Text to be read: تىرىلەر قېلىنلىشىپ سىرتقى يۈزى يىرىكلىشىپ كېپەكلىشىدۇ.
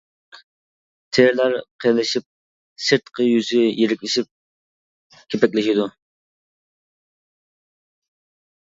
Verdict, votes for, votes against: rejected, 0, 2